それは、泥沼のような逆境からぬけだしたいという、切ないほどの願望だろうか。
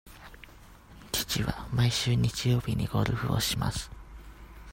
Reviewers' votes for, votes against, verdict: 0, 2, rejected